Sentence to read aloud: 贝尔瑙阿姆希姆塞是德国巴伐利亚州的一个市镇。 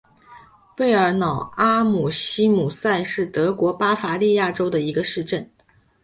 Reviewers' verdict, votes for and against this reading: accepted, 2, 0